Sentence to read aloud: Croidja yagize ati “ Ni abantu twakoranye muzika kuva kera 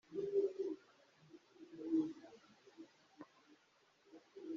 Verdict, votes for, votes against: rejected, 1, 2